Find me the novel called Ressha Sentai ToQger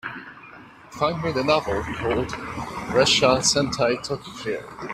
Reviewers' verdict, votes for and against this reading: accepted, 3, 0